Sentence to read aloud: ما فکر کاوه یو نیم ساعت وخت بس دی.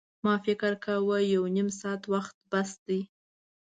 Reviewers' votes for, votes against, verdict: 2, 0, accepted